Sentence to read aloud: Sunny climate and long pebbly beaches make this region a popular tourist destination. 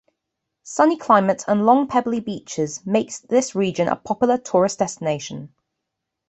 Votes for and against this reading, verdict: 2, 0, accepted